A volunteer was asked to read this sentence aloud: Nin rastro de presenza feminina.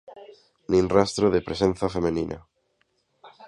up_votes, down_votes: 2, 0